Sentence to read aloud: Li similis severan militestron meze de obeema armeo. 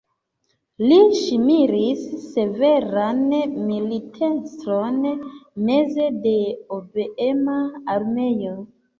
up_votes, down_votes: 0, 2